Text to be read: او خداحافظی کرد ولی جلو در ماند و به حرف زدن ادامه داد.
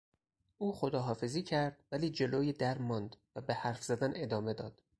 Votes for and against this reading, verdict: 2, 2, rejected